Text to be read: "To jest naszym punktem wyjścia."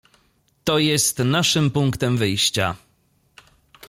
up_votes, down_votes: 2, 0